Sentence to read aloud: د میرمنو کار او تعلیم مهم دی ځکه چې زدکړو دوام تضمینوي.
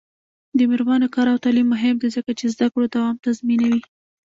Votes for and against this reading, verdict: 0, 2, rejected